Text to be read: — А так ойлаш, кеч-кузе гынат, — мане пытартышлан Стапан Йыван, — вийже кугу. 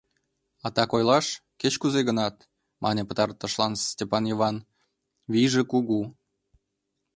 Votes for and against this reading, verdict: 1, 2, rejected